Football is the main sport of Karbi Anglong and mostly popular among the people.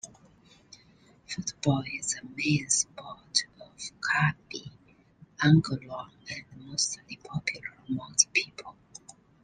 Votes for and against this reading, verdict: 2, 1, accepted